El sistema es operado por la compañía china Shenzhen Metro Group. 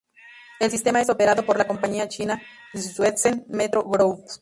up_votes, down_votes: 2, 0